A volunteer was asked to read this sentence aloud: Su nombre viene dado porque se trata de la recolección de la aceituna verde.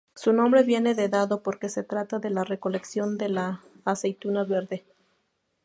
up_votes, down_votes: 0, 2